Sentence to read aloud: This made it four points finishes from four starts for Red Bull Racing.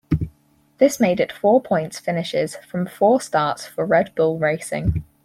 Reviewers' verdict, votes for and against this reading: accepted, 4, 2